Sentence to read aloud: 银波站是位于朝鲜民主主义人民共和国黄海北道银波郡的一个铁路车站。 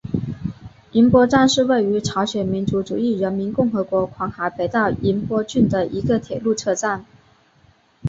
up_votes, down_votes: 2, 0